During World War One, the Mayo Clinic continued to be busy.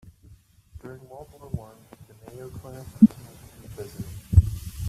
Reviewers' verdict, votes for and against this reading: rejected, 1, 2